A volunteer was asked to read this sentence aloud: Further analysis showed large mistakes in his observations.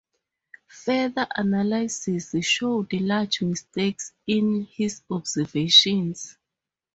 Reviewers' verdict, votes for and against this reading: accepted, 4, 0